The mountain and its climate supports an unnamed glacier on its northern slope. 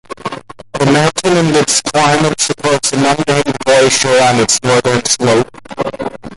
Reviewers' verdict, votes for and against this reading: rejected, 0, 2